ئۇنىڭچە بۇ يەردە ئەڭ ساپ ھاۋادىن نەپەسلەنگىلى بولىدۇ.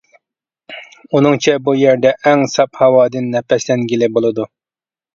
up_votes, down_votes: 2, 0